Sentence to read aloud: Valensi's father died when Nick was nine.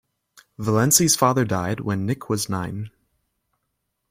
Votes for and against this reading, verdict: 2, 0, accepted